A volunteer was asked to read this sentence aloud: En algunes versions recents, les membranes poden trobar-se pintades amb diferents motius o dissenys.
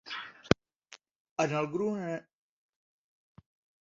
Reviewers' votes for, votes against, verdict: 0, 2, rejected